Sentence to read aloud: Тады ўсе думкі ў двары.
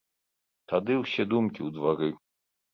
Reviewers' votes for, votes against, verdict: 2, 0, accepted